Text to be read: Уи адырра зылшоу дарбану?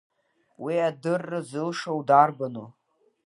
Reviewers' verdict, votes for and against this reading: rejected, 1, 2